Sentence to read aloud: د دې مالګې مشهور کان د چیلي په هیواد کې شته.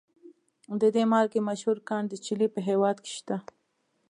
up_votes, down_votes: 2, 0